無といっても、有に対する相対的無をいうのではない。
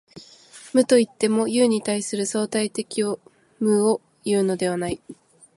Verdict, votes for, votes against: accepted, 2, 0